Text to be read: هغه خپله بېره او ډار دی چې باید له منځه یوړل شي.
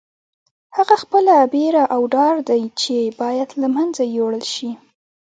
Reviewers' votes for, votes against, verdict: 2, 0, accepted